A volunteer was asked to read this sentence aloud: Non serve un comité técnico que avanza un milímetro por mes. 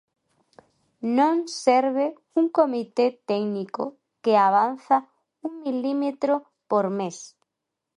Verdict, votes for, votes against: accepted, 2, 0